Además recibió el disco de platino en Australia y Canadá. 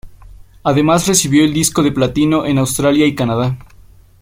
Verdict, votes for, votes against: accepted, 2, 0